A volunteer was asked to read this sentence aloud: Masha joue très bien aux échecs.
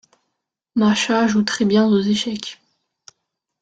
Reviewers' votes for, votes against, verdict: 0, 2, rejected